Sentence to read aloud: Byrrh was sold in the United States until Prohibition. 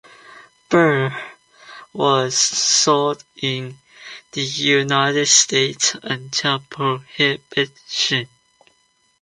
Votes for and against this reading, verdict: 0, 2, rejected